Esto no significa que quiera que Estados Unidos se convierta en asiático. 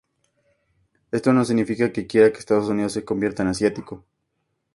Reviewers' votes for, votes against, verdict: 4, 2, accepted